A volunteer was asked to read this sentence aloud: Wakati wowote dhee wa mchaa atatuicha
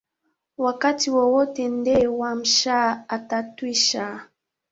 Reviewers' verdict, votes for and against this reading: rejected, 2, 3